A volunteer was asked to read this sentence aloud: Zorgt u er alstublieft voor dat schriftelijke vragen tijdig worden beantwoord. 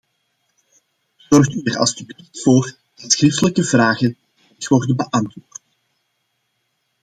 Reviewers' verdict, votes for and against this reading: rejected, 0, 2